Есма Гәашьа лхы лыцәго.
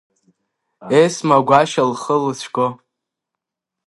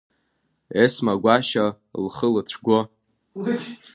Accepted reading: first